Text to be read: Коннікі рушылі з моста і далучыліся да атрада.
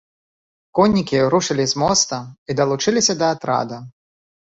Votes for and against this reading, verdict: 2, 0, accepted